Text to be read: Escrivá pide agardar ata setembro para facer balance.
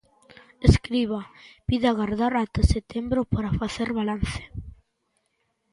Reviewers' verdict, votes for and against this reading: rejected, 0, 2